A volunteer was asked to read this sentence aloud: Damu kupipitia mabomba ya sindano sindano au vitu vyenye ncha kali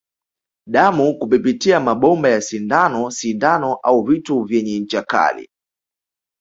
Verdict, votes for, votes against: accepted, 2, 0